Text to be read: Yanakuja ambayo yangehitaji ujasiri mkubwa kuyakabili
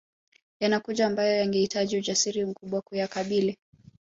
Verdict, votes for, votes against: accepted, 2, 1